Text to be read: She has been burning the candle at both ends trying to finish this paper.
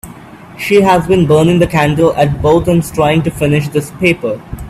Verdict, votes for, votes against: accepted, 2, 0